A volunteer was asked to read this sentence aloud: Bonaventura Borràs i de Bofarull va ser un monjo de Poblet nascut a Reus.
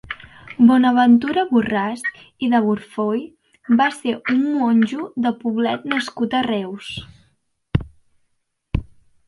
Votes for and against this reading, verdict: 0, 2, rejected